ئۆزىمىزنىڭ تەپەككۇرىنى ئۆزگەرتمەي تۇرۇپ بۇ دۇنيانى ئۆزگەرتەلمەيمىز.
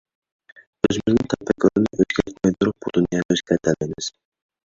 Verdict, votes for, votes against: rejected, 0, 2